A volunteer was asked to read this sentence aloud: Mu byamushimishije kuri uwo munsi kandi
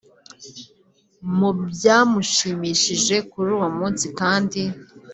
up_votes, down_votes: 3, 1